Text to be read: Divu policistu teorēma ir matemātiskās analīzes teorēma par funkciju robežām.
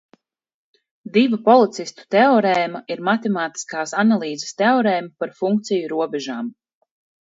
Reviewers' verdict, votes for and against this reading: accepted, 4, 0